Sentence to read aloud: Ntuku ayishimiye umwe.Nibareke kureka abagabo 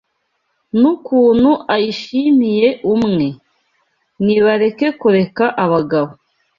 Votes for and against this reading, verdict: 1, 2, rejected